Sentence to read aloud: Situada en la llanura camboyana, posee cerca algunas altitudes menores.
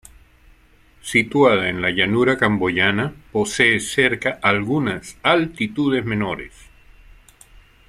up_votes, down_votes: 2, 0